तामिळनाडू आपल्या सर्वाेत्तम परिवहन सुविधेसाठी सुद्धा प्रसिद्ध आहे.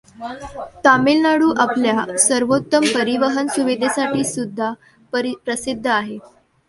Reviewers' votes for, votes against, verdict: 1, 2, rejected